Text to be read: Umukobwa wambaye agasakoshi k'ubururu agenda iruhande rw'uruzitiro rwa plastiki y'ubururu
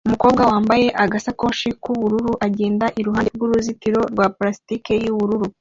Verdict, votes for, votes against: accepted, 2, 0